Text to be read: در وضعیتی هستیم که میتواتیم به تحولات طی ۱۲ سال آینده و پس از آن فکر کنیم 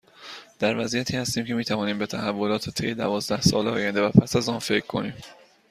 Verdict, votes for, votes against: rejected, 0, 2